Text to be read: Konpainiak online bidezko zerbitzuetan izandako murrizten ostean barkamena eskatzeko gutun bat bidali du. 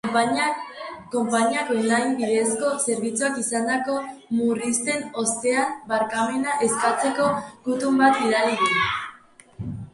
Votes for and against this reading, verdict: 0, 2, rejected